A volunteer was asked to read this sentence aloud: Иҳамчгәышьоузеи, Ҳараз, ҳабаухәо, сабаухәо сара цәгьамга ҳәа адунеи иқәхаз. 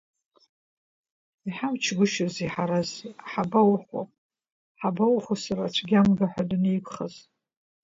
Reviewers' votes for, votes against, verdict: 1, 2, rejected